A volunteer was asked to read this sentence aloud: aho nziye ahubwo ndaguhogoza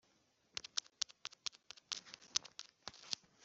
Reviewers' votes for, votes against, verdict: 0, 2, rejected